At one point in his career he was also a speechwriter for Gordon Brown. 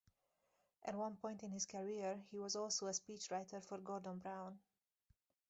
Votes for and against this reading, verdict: 2, 0, accepted